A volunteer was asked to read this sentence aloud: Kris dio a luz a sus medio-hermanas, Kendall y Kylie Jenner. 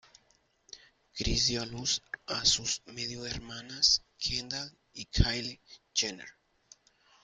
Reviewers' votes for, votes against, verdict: 2, 0, accepted